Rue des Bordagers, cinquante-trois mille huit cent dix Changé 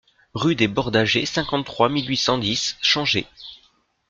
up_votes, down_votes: 2, 0